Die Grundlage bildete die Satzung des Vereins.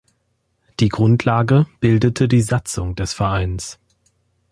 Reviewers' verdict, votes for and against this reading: accepted, 2, 0